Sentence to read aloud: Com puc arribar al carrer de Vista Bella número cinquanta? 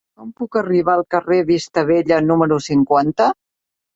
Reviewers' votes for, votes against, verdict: 1, 2, rejected